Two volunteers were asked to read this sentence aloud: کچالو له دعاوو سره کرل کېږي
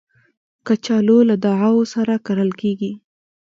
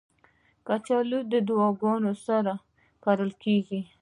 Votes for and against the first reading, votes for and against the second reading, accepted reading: 3, 0, 1, 2, first